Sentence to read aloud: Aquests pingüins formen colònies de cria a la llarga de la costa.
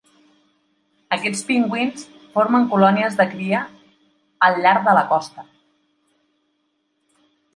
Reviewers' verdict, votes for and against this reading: rejected, 2, 5